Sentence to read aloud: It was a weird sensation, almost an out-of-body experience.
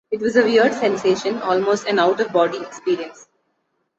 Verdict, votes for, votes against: accepted, 2, 0